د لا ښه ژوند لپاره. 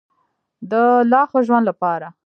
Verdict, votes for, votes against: rejected, 1, 2